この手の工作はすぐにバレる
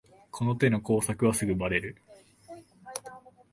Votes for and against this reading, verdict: 1, 2, rejected